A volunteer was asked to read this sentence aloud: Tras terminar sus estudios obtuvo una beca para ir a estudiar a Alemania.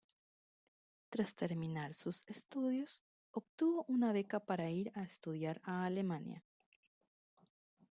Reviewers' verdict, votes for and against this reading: accepted, 2, 0